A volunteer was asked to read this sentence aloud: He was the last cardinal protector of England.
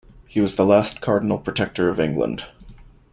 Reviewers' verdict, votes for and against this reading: accepted, 2, 0